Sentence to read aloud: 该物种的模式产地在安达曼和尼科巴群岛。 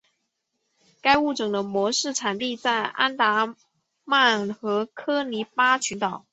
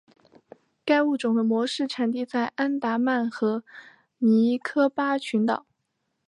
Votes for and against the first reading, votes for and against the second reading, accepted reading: 1, 2, 5, 0, second